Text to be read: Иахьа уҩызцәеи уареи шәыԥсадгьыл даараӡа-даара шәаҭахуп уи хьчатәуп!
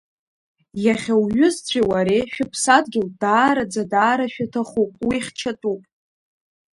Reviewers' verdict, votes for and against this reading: rejected, 1, 2